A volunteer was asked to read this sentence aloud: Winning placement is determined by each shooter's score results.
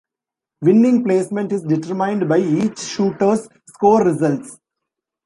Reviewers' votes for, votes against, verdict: 1, 2, rejected